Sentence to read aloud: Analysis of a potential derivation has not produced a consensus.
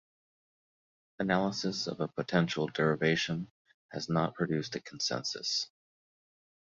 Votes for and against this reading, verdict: 2, 0, accepted